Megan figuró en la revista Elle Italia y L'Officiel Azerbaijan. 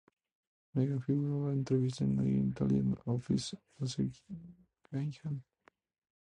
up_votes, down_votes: 0, 2